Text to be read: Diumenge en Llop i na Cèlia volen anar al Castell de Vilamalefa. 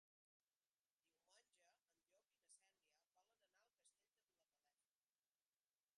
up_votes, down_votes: 0, 2